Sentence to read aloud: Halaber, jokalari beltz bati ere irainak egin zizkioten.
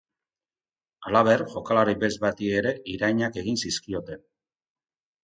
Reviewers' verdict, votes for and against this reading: accepted, 2, 0